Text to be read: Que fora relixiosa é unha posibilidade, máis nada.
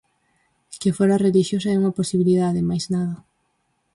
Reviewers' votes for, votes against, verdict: 4, 0, accepted